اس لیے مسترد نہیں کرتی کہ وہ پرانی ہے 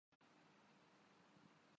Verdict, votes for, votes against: rejected, 0, 2